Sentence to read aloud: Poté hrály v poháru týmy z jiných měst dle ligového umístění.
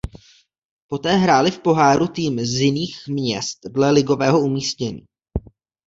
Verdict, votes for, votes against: accepted, 2, 0